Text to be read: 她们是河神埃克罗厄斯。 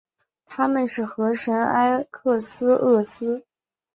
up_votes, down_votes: 1, 2